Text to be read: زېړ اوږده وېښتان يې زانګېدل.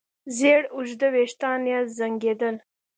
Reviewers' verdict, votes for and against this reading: accepted, 2, 0